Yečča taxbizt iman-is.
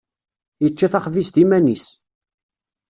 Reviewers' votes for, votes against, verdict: 1, 2, rejected